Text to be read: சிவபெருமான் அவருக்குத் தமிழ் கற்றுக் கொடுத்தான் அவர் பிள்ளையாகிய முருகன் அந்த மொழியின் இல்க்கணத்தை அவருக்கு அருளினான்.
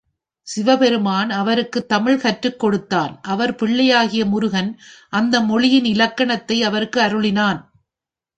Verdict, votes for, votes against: accepted, 2, 1